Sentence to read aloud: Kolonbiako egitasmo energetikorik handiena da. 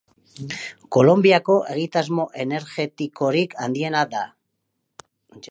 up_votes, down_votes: 2, 0